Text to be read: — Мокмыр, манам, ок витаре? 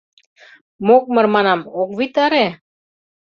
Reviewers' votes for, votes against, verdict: 2, 0, accepted